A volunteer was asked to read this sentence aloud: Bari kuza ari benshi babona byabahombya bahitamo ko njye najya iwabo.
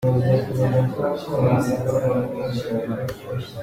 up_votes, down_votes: 0, 3